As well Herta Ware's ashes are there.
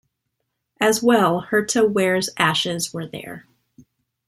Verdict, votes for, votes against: rejected, 1, 2